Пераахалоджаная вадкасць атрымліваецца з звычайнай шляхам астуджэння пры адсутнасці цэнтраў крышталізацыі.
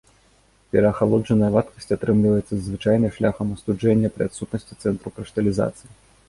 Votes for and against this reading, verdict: 2, 0, accepted